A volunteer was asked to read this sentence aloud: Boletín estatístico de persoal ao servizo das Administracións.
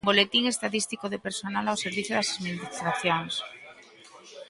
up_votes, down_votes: 0, 2